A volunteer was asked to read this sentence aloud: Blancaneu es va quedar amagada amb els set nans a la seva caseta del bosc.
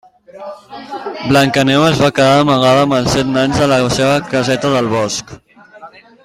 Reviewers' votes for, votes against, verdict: 3, 1, accepted